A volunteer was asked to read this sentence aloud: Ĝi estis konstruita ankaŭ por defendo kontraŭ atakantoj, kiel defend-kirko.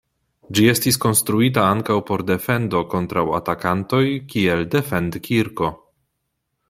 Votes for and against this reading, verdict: 2, 0, accepted